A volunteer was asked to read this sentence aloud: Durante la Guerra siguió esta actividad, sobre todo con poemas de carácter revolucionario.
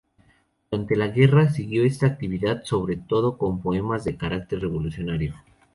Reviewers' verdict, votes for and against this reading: accepted, 2, 0